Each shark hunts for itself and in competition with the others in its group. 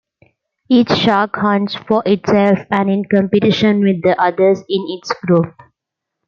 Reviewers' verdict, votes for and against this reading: accepted, 2, 0